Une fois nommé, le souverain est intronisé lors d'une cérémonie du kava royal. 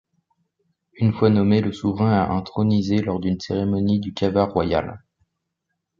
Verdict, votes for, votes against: rejected, 1, 2